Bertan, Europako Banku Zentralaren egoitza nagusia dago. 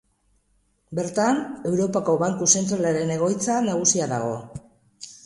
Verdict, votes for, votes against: accepted, 2, 0